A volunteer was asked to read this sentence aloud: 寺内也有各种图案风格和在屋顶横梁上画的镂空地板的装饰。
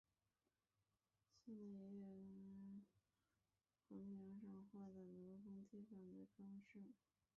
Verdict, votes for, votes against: rejected, 0, 3